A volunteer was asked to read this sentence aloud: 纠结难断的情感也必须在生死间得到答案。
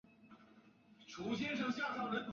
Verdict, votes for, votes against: rejected, 2, 3